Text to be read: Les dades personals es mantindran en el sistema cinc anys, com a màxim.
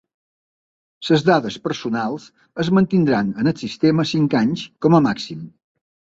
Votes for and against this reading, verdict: 0, 2, rejected